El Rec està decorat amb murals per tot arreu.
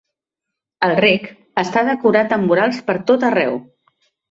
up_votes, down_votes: 2, 0